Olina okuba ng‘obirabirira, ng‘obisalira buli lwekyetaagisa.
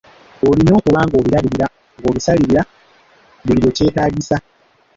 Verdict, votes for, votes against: accepted, 3, 1